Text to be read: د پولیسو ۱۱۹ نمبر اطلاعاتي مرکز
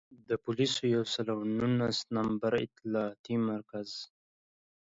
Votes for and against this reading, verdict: 0, 2, rejected